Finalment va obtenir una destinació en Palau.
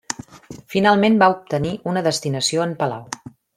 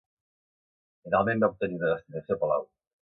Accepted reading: first